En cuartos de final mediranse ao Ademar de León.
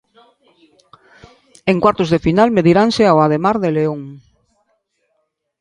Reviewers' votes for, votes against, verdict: 2, 0, accepted